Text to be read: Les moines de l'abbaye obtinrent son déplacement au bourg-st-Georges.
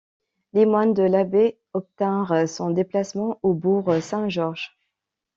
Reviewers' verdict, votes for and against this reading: rejected, 0, 2